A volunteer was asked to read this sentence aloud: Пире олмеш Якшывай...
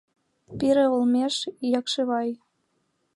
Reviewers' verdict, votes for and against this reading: accepted, 2, 0